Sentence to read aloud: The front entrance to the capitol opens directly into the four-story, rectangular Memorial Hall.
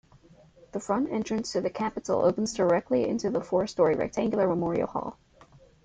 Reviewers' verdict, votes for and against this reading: rejected, 0, 2